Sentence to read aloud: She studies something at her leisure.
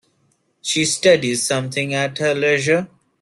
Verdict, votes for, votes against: accepted, 2, 0